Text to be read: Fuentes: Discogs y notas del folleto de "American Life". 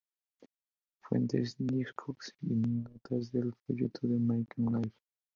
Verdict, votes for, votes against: accepted, 2, 0